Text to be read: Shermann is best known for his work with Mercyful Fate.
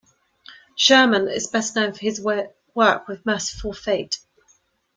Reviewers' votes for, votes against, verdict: 0, 2, rejected